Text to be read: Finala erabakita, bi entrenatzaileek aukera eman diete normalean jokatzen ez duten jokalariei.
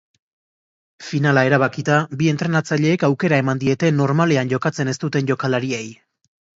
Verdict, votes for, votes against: accepted, 2, 0